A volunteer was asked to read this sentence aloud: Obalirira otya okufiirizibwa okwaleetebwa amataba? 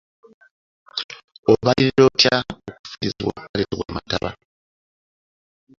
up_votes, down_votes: 2, 1